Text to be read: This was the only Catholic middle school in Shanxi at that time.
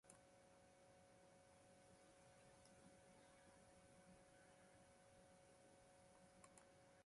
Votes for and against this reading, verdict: 0, 2, rejected